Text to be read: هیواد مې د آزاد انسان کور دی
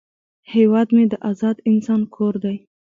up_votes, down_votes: 0, 2